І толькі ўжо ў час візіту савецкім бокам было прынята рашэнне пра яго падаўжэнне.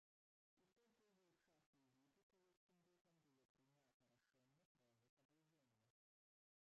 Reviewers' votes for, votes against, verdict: 0, 2, rejected